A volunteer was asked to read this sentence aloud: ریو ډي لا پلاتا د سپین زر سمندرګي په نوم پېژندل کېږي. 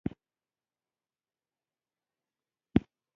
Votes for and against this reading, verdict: 0, 2, rejected